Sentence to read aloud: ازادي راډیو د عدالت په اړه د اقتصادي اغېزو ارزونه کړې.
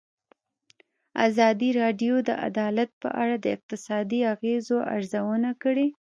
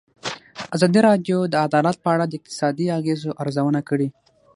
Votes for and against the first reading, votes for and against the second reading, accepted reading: 1, 2, 6, 3, second